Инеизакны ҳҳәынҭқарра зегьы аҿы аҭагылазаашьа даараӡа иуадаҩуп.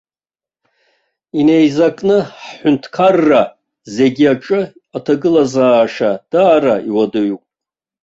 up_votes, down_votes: 1, 2